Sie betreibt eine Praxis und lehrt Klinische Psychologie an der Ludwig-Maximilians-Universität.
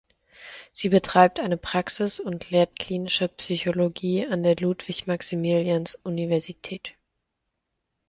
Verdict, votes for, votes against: accepted, 2, 0